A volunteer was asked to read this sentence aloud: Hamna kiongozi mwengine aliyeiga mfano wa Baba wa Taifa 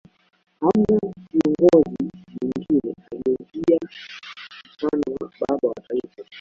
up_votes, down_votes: 2, 1